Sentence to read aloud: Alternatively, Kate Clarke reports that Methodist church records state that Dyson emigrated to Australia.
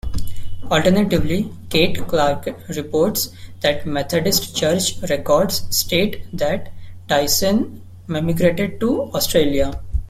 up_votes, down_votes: 0, 2